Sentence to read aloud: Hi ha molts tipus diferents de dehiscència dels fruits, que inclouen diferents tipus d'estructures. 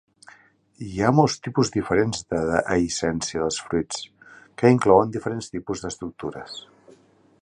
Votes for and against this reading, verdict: 1, 2, rejected